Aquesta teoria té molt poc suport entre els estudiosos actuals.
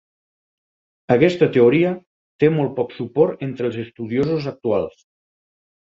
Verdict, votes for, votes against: accepted, 4, 2